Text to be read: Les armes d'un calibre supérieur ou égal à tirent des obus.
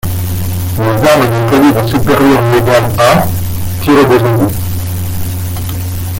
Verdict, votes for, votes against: rejected, 0, 2